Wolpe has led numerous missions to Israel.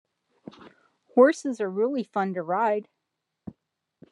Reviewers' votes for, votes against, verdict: 0, 2, rejected